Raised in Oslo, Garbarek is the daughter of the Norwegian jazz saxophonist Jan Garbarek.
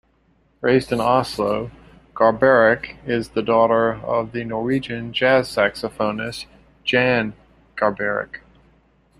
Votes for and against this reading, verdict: 2, 0, accepted